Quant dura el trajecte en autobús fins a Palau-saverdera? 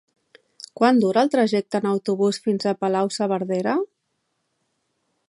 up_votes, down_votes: 2, 0